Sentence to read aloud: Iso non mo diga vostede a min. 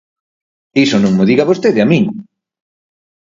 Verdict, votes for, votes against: accepted, 4, 0